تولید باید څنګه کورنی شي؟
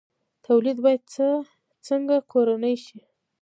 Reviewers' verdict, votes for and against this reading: accepted, 2, 1